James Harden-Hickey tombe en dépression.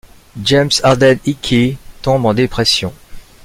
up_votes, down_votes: 2, 1